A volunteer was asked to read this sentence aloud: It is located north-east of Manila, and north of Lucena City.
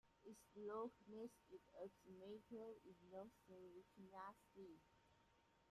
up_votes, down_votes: 0, 2